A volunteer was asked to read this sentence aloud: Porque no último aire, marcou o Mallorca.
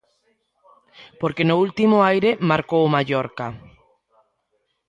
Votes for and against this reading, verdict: 1, 2, rejected